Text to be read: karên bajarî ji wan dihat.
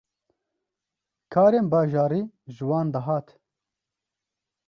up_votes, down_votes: 2, 0